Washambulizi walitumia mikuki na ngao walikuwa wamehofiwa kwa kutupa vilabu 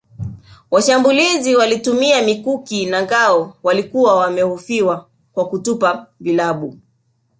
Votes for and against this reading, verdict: 2, 1, accepted